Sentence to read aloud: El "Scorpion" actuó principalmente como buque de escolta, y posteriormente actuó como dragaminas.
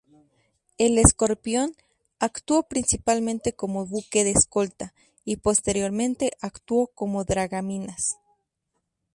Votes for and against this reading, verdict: 2, 0, accepted